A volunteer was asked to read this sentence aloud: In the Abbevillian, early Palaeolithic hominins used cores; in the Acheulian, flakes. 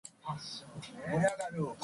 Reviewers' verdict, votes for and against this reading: rejected, 0, 2